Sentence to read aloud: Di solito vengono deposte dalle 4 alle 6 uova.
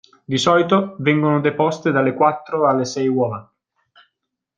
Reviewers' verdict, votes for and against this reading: rejected, 0, 2